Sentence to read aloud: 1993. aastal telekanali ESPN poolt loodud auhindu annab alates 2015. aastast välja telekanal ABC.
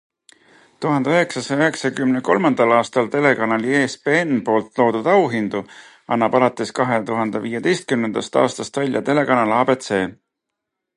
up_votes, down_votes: 0, 2